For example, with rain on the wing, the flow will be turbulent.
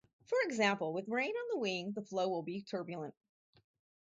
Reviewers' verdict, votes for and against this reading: rejected, 0, 2